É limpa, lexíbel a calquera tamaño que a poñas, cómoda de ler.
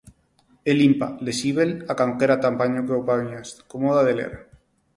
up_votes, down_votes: 0, 4